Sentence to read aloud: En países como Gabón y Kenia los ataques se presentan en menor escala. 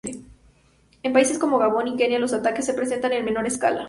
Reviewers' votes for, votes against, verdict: 2, 2, rejected